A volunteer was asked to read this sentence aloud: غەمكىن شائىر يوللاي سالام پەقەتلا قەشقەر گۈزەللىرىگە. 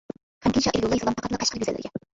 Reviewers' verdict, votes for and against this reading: rejected, 0, 2